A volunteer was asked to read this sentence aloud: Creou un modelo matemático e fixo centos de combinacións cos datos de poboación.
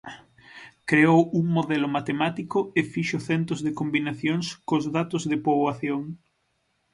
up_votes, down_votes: 6, 0